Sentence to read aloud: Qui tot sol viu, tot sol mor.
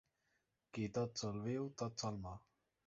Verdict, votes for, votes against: accepted, 2, 0